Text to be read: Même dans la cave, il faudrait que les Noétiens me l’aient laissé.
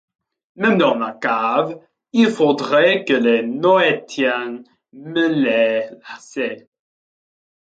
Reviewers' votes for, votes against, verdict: 2, 1, accepted